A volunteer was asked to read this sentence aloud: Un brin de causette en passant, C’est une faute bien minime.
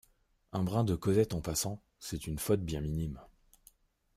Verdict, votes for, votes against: accepted, 2, 0